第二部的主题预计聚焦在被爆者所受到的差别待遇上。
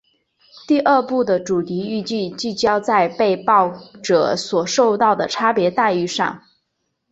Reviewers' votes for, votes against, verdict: 2, 0, accepted